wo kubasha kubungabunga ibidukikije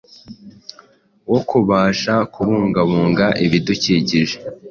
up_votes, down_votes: 2, 0